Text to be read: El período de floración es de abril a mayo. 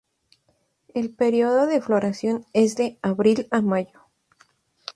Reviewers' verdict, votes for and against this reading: accepted, 4, 0